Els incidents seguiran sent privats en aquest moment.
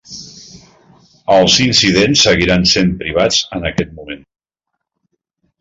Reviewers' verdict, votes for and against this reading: accepted, 3, 0